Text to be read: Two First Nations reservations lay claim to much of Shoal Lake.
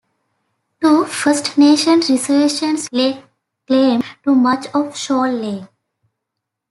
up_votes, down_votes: 0, 2